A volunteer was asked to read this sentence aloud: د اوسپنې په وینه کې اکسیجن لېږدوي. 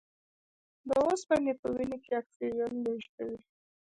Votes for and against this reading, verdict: 0, 2, rejected